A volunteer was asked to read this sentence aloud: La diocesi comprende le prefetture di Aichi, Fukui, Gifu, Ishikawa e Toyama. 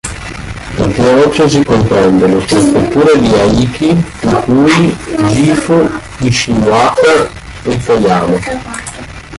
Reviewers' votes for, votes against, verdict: 0, 2, rejected